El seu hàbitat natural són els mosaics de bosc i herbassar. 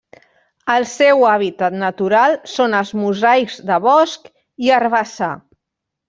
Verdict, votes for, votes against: accepted, 2, 0